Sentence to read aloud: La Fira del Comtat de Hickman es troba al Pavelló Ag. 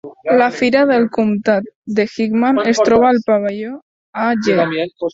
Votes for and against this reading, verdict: 0, 2, rejected